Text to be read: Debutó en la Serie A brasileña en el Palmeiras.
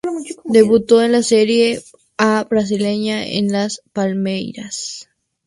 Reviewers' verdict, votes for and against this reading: rejected, 0, 4